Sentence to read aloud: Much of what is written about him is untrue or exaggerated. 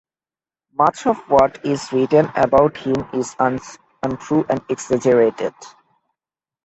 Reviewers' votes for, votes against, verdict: 0, 2, rejected